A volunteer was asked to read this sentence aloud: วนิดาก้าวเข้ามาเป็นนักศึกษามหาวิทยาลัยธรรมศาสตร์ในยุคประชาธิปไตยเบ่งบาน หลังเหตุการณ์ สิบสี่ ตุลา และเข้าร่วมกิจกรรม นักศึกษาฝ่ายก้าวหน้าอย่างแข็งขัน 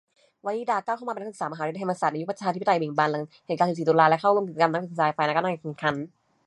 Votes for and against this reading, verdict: 1, 2, rejected